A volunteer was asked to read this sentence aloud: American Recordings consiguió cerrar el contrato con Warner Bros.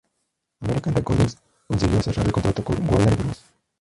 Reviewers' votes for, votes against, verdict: 0, 4, rejected